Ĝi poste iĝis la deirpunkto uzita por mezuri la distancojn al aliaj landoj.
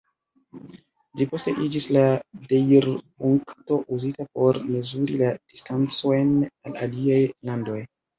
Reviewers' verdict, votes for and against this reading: accepted, 2, 0